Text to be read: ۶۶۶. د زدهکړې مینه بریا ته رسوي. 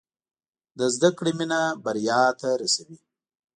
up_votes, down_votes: 0, 2